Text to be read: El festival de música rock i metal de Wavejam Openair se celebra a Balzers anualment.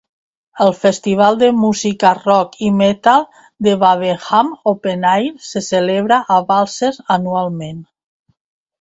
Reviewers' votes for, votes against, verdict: 2, 0, accepted